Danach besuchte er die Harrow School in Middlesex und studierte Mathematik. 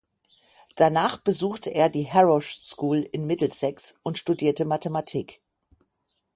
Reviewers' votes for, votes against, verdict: 3, 6, rejected